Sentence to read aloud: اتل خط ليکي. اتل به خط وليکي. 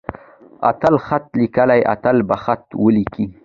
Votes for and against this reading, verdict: 2, 0, accepted